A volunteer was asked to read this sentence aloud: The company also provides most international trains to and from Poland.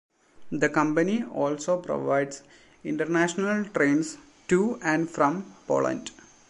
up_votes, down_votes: 1, 2